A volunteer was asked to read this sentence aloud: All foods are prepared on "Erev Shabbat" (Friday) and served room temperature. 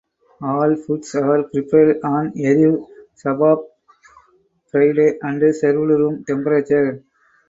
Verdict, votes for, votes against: rejected, 4, 6